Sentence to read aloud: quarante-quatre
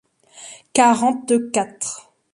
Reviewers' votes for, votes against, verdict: 2, 0, accepted